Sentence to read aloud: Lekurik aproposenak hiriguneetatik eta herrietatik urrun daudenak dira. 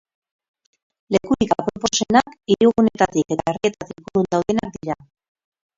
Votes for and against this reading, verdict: 0, 2, rejected